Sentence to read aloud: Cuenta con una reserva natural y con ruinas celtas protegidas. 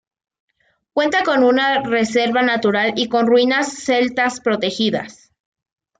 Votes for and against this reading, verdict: 2, 0, accepted